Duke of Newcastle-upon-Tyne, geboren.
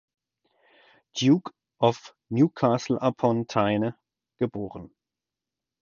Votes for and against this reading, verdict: 2, 4, rejected